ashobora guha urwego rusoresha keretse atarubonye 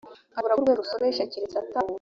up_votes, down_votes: 0, 2